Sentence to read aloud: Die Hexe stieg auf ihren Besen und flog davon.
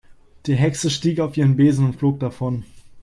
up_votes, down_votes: 4, 0